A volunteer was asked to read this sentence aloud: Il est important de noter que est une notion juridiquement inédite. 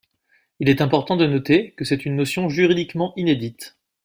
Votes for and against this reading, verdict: 1, 2, rejected